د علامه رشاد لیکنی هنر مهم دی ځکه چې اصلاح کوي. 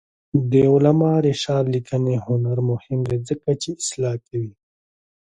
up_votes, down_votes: 3, 0